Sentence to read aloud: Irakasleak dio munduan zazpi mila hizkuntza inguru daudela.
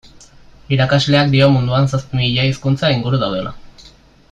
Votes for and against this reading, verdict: 2, 0, accepted